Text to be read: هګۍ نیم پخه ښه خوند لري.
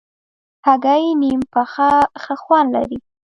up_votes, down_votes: 1, 2